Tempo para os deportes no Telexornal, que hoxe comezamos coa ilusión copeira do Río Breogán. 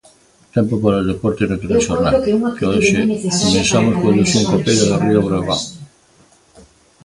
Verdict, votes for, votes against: rejected, 0, 2